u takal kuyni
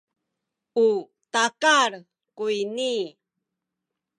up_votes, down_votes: 2, 1